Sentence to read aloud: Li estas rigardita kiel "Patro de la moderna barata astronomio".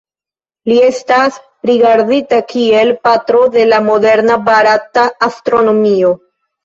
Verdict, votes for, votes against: accepted, 2, 1